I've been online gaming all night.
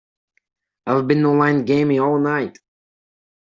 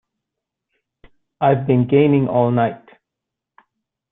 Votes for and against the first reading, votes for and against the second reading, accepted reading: 2, 1, 0, 2, first